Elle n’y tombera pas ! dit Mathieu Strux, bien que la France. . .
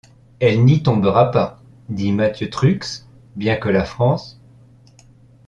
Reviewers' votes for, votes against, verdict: 0, 2, rejected